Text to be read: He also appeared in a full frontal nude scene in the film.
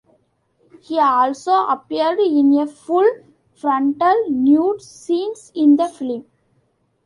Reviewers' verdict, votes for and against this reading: rejected, 0, 2